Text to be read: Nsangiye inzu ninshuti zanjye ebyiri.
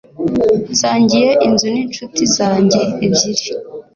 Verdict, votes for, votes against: accepted, 2, 0